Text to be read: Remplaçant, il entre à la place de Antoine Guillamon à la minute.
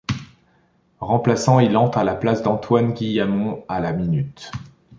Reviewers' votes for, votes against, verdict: 1, 2, rejected